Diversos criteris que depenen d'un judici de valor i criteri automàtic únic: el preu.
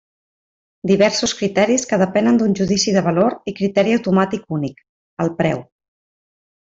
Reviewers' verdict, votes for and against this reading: accepted, 3, 0